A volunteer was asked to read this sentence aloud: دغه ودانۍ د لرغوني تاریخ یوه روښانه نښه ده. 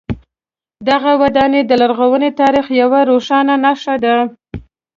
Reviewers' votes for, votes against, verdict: 2, 0, accepted